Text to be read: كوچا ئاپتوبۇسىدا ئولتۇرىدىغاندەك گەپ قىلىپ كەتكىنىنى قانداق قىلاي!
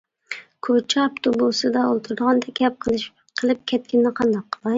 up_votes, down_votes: 0, 2